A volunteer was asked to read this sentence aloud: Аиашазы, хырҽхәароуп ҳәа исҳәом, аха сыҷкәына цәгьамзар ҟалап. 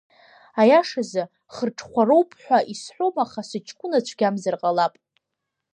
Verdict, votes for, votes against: rejected, 1, 2